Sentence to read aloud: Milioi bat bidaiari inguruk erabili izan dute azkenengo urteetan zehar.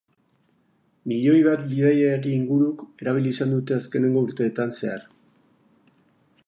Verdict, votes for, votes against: rejected, 2, 2